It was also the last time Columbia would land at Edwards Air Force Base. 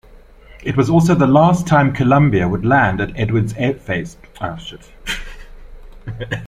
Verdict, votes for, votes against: rejected, 0, 3